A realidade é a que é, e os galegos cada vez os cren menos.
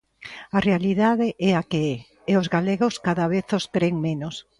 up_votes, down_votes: 2, 0